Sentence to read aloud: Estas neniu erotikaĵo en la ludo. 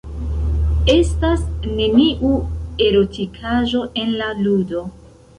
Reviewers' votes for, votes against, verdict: 0, 2, rejected